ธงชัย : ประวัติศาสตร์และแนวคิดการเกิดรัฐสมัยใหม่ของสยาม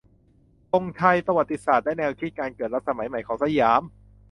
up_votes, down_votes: 2, 0